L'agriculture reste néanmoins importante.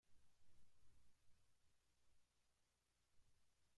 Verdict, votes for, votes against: rejected, 0, 2